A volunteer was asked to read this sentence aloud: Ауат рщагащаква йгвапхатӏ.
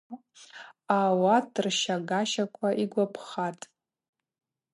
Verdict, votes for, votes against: accepted, 4, 0